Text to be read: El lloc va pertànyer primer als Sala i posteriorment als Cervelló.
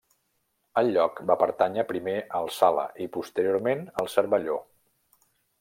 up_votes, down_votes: 3, 0